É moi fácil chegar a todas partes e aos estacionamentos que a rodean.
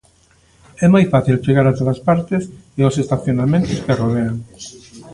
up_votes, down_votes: 1, 2